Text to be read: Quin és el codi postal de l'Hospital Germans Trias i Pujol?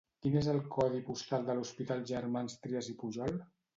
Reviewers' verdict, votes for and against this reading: accepted, 2, 0